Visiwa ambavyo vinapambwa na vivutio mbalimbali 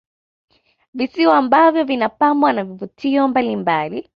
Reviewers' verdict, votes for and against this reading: accepted, 2, 0